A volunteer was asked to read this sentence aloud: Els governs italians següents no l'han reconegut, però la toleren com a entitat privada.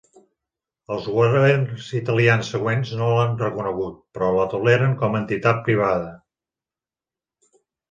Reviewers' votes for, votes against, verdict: 1, 2, rejected